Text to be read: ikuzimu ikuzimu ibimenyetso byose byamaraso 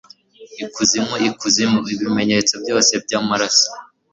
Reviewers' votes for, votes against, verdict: 1, 2, rejected